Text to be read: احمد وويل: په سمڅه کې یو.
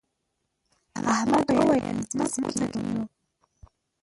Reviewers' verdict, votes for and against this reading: rejected, 0, 2